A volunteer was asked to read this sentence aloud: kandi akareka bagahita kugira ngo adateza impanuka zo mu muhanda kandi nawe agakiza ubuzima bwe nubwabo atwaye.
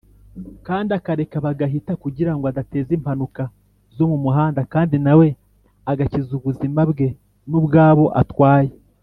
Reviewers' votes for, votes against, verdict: 2, 0, accepted